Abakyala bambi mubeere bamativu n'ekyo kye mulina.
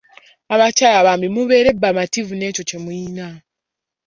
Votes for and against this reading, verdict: 0, 2, rejected